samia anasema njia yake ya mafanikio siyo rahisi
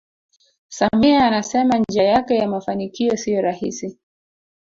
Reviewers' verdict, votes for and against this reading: rejected, 0, 2